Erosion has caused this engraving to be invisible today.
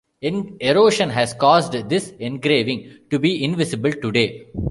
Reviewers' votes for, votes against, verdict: 1, 2, rejected